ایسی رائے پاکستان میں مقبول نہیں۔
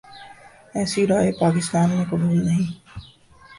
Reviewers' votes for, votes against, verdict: 2, 3, rejected